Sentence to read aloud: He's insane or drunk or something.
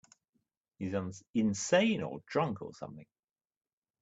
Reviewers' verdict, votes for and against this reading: rejected, 0, 2